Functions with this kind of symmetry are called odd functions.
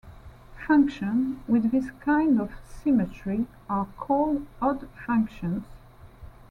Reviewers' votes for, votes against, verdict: 1, 2, rejected